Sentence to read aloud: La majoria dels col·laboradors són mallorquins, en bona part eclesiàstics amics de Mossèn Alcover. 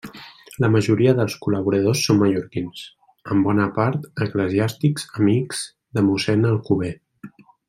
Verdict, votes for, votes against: accepted, 2, 1